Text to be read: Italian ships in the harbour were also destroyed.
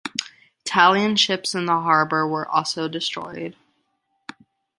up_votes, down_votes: 1, 2